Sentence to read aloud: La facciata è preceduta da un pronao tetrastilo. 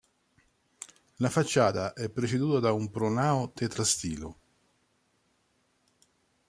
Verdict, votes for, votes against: accepted, 2, 0